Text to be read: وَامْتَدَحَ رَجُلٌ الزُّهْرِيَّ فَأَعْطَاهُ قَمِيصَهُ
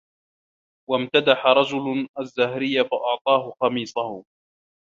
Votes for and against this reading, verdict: 3, 2, accepted